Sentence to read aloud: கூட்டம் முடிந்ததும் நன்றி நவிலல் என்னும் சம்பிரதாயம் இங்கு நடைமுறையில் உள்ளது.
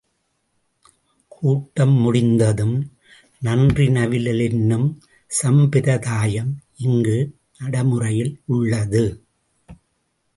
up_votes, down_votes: 1, 2